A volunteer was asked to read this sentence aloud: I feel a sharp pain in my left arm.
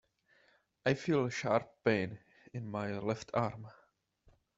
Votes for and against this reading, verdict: 2, 0, accepted